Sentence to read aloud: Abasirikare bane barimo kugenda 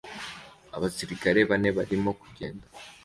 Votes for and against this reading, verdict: 2, 0, accepted